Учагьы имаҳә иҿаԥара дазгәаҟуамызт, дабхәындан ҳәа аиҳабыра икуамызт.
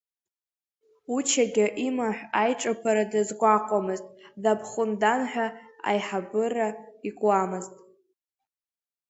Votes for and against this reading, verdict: 0, 2, rejected